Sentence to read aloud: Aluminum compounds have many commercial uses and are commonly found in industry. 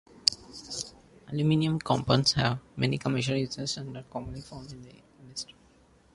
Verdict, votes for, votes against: rejected, 0, 2